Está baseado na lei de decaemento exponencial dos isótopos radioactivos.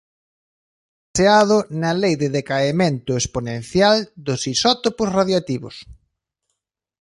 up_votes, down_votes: 0, 3